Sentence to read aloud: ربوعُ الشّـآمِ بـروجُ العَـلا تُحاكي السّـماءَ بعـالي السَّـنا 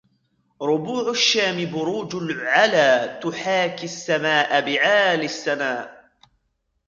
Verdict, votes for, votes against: rejected, 1, 2